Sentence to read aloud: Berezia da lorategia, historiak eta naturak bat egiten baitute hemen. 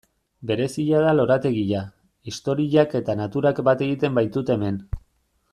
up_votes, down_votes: 1, 2